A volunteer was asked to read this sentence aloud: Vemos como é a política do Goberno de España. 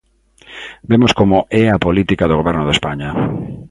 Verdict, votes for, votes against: accepted, 2, 0